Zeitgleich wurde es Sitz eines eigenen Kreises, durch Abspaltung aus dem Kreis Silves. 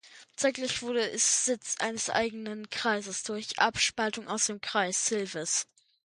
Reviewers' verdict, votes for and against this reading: rejected, 1, 2